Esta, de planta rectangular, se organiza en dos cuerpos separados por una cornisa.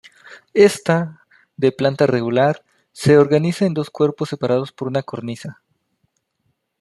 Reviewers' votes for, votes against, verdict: 0, 2, rejected